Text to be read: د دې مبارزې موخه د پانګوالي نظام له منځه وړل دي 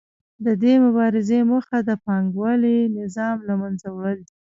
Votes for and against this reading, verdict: 2, 0, accepted